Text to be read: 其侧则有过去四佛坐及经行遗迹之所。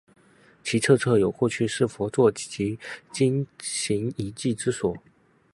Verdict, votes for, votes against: rejected, 0, 2